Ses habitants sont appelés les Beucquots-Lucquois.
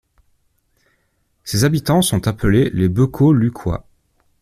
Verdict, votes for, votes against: accepted, 2, 0